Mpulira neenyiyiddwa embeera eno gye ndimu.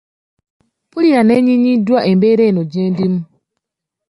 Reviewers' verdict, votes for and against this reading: rejected, 0, 2